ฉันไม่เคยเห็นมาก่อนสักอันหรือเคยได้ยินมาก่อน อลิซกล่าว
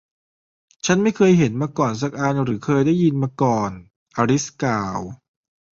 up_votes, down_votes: 2, 1